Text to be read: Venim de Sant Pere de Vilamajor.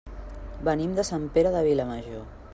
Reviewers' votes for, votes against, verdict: 3, 0, accepted